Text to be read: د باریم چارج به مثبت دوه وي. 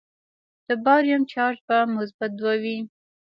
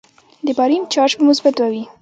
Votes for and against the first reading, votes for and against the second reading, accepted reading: 2, 1, 1, 2, first